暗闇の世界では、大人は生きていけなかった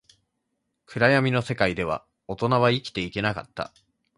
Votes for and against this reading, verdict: 2, 0, accepted